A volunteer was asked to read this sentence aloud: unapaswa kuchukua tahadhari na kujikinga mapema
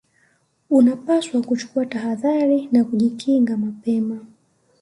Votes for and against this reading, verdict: 2, 0, accepted